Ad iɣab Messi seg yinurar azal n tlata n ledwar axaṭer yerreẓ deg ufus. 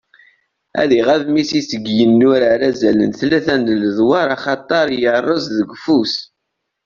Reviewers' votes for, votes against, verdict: 2, 0, accepted